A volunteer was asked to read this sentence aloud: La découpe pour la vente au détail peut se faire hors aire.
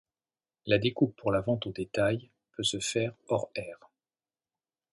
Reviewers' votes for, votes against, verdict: 2, 0, accepted